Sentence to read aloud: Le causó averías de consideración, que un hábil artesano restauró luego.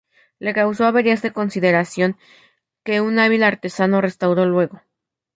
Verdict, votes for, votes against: rejected, 0, 2